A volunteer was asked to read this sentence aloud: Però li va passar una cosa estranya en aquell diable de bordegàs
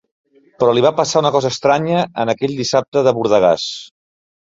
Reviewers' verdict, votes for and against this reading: rejected, 1, 3